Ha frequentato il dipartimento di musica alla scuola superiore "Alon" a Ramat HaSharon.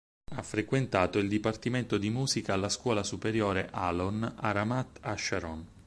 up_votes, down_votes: 4, 0